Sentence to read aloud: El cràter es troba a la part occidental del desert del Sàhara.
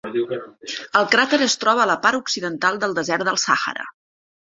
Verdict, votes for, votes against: rejected, 0, 2